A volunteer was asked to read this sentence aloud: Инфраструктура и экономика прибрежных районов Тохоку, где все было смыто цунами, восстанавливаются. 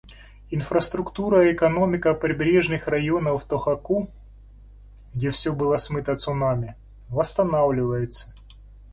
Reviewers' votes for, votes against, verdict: 0, 2, rejected